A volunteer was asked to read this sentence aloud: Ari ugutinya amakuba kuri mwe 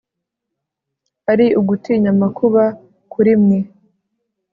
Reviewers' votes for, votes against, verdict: 0, 2, rejected